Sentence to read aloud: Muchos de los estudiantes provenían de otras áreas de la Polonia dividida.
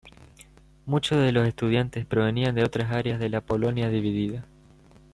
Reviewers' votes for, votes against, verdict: 2, 0, accepted